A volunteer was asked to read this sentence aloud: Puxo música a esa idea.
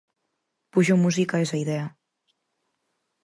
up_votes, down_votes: 4, 0